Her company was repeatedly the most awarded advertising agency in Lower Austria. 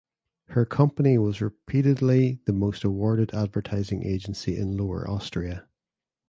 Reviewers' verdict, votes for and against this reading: accepted, 2, 0